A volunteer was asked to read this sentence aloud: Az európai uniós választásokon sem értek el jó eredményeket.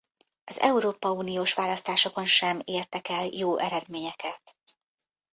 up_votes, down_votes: 0, 2